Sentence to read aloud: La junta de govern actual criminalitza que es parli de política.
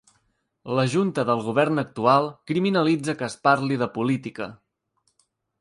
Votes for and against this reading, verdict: 1, 2, rejected